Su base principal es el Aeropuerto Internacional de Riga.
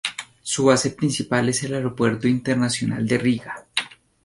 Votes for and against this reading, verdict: 2, 0, accepted